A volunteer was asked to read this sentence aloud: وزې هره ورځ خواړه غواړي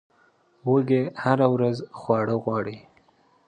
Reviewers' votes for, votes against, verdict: 1, 2, rejected